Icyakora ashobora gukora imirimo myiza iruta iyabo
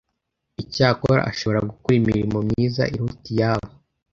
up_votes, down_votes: 2, 0